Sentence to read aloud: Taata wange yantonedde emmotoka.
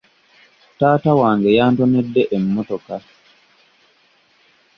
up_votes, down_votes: 2, 0